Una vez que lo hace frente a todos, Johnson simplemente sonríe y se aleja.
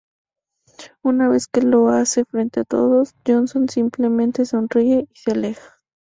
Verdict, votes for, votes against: accepted, 2, 0